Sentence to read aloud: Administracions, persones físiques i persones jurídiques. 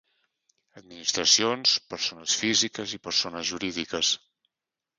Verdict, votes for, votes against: rejected, 1, 2